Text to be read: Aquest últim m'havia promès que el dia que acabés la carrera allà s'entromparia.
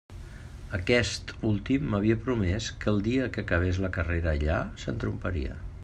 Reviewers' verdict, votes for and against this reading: accepted, 2, 0